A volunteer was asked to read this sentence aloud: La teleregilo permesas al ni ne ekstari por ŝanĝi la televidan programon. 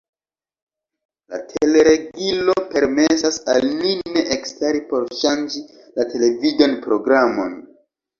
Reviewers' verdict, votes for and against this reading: rejected, 0, 2